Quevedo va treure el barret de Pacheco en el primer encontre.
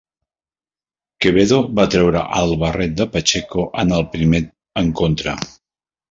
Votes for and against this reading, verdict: 0, 2, rejected